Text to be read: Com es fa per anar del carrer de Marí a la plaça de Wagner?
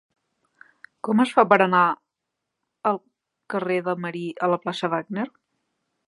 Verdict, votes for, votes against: rejected, 0, 2